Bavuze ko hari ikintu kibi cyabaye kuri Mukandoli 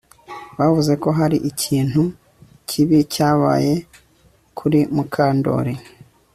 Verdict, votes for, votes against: accepted, 2, 0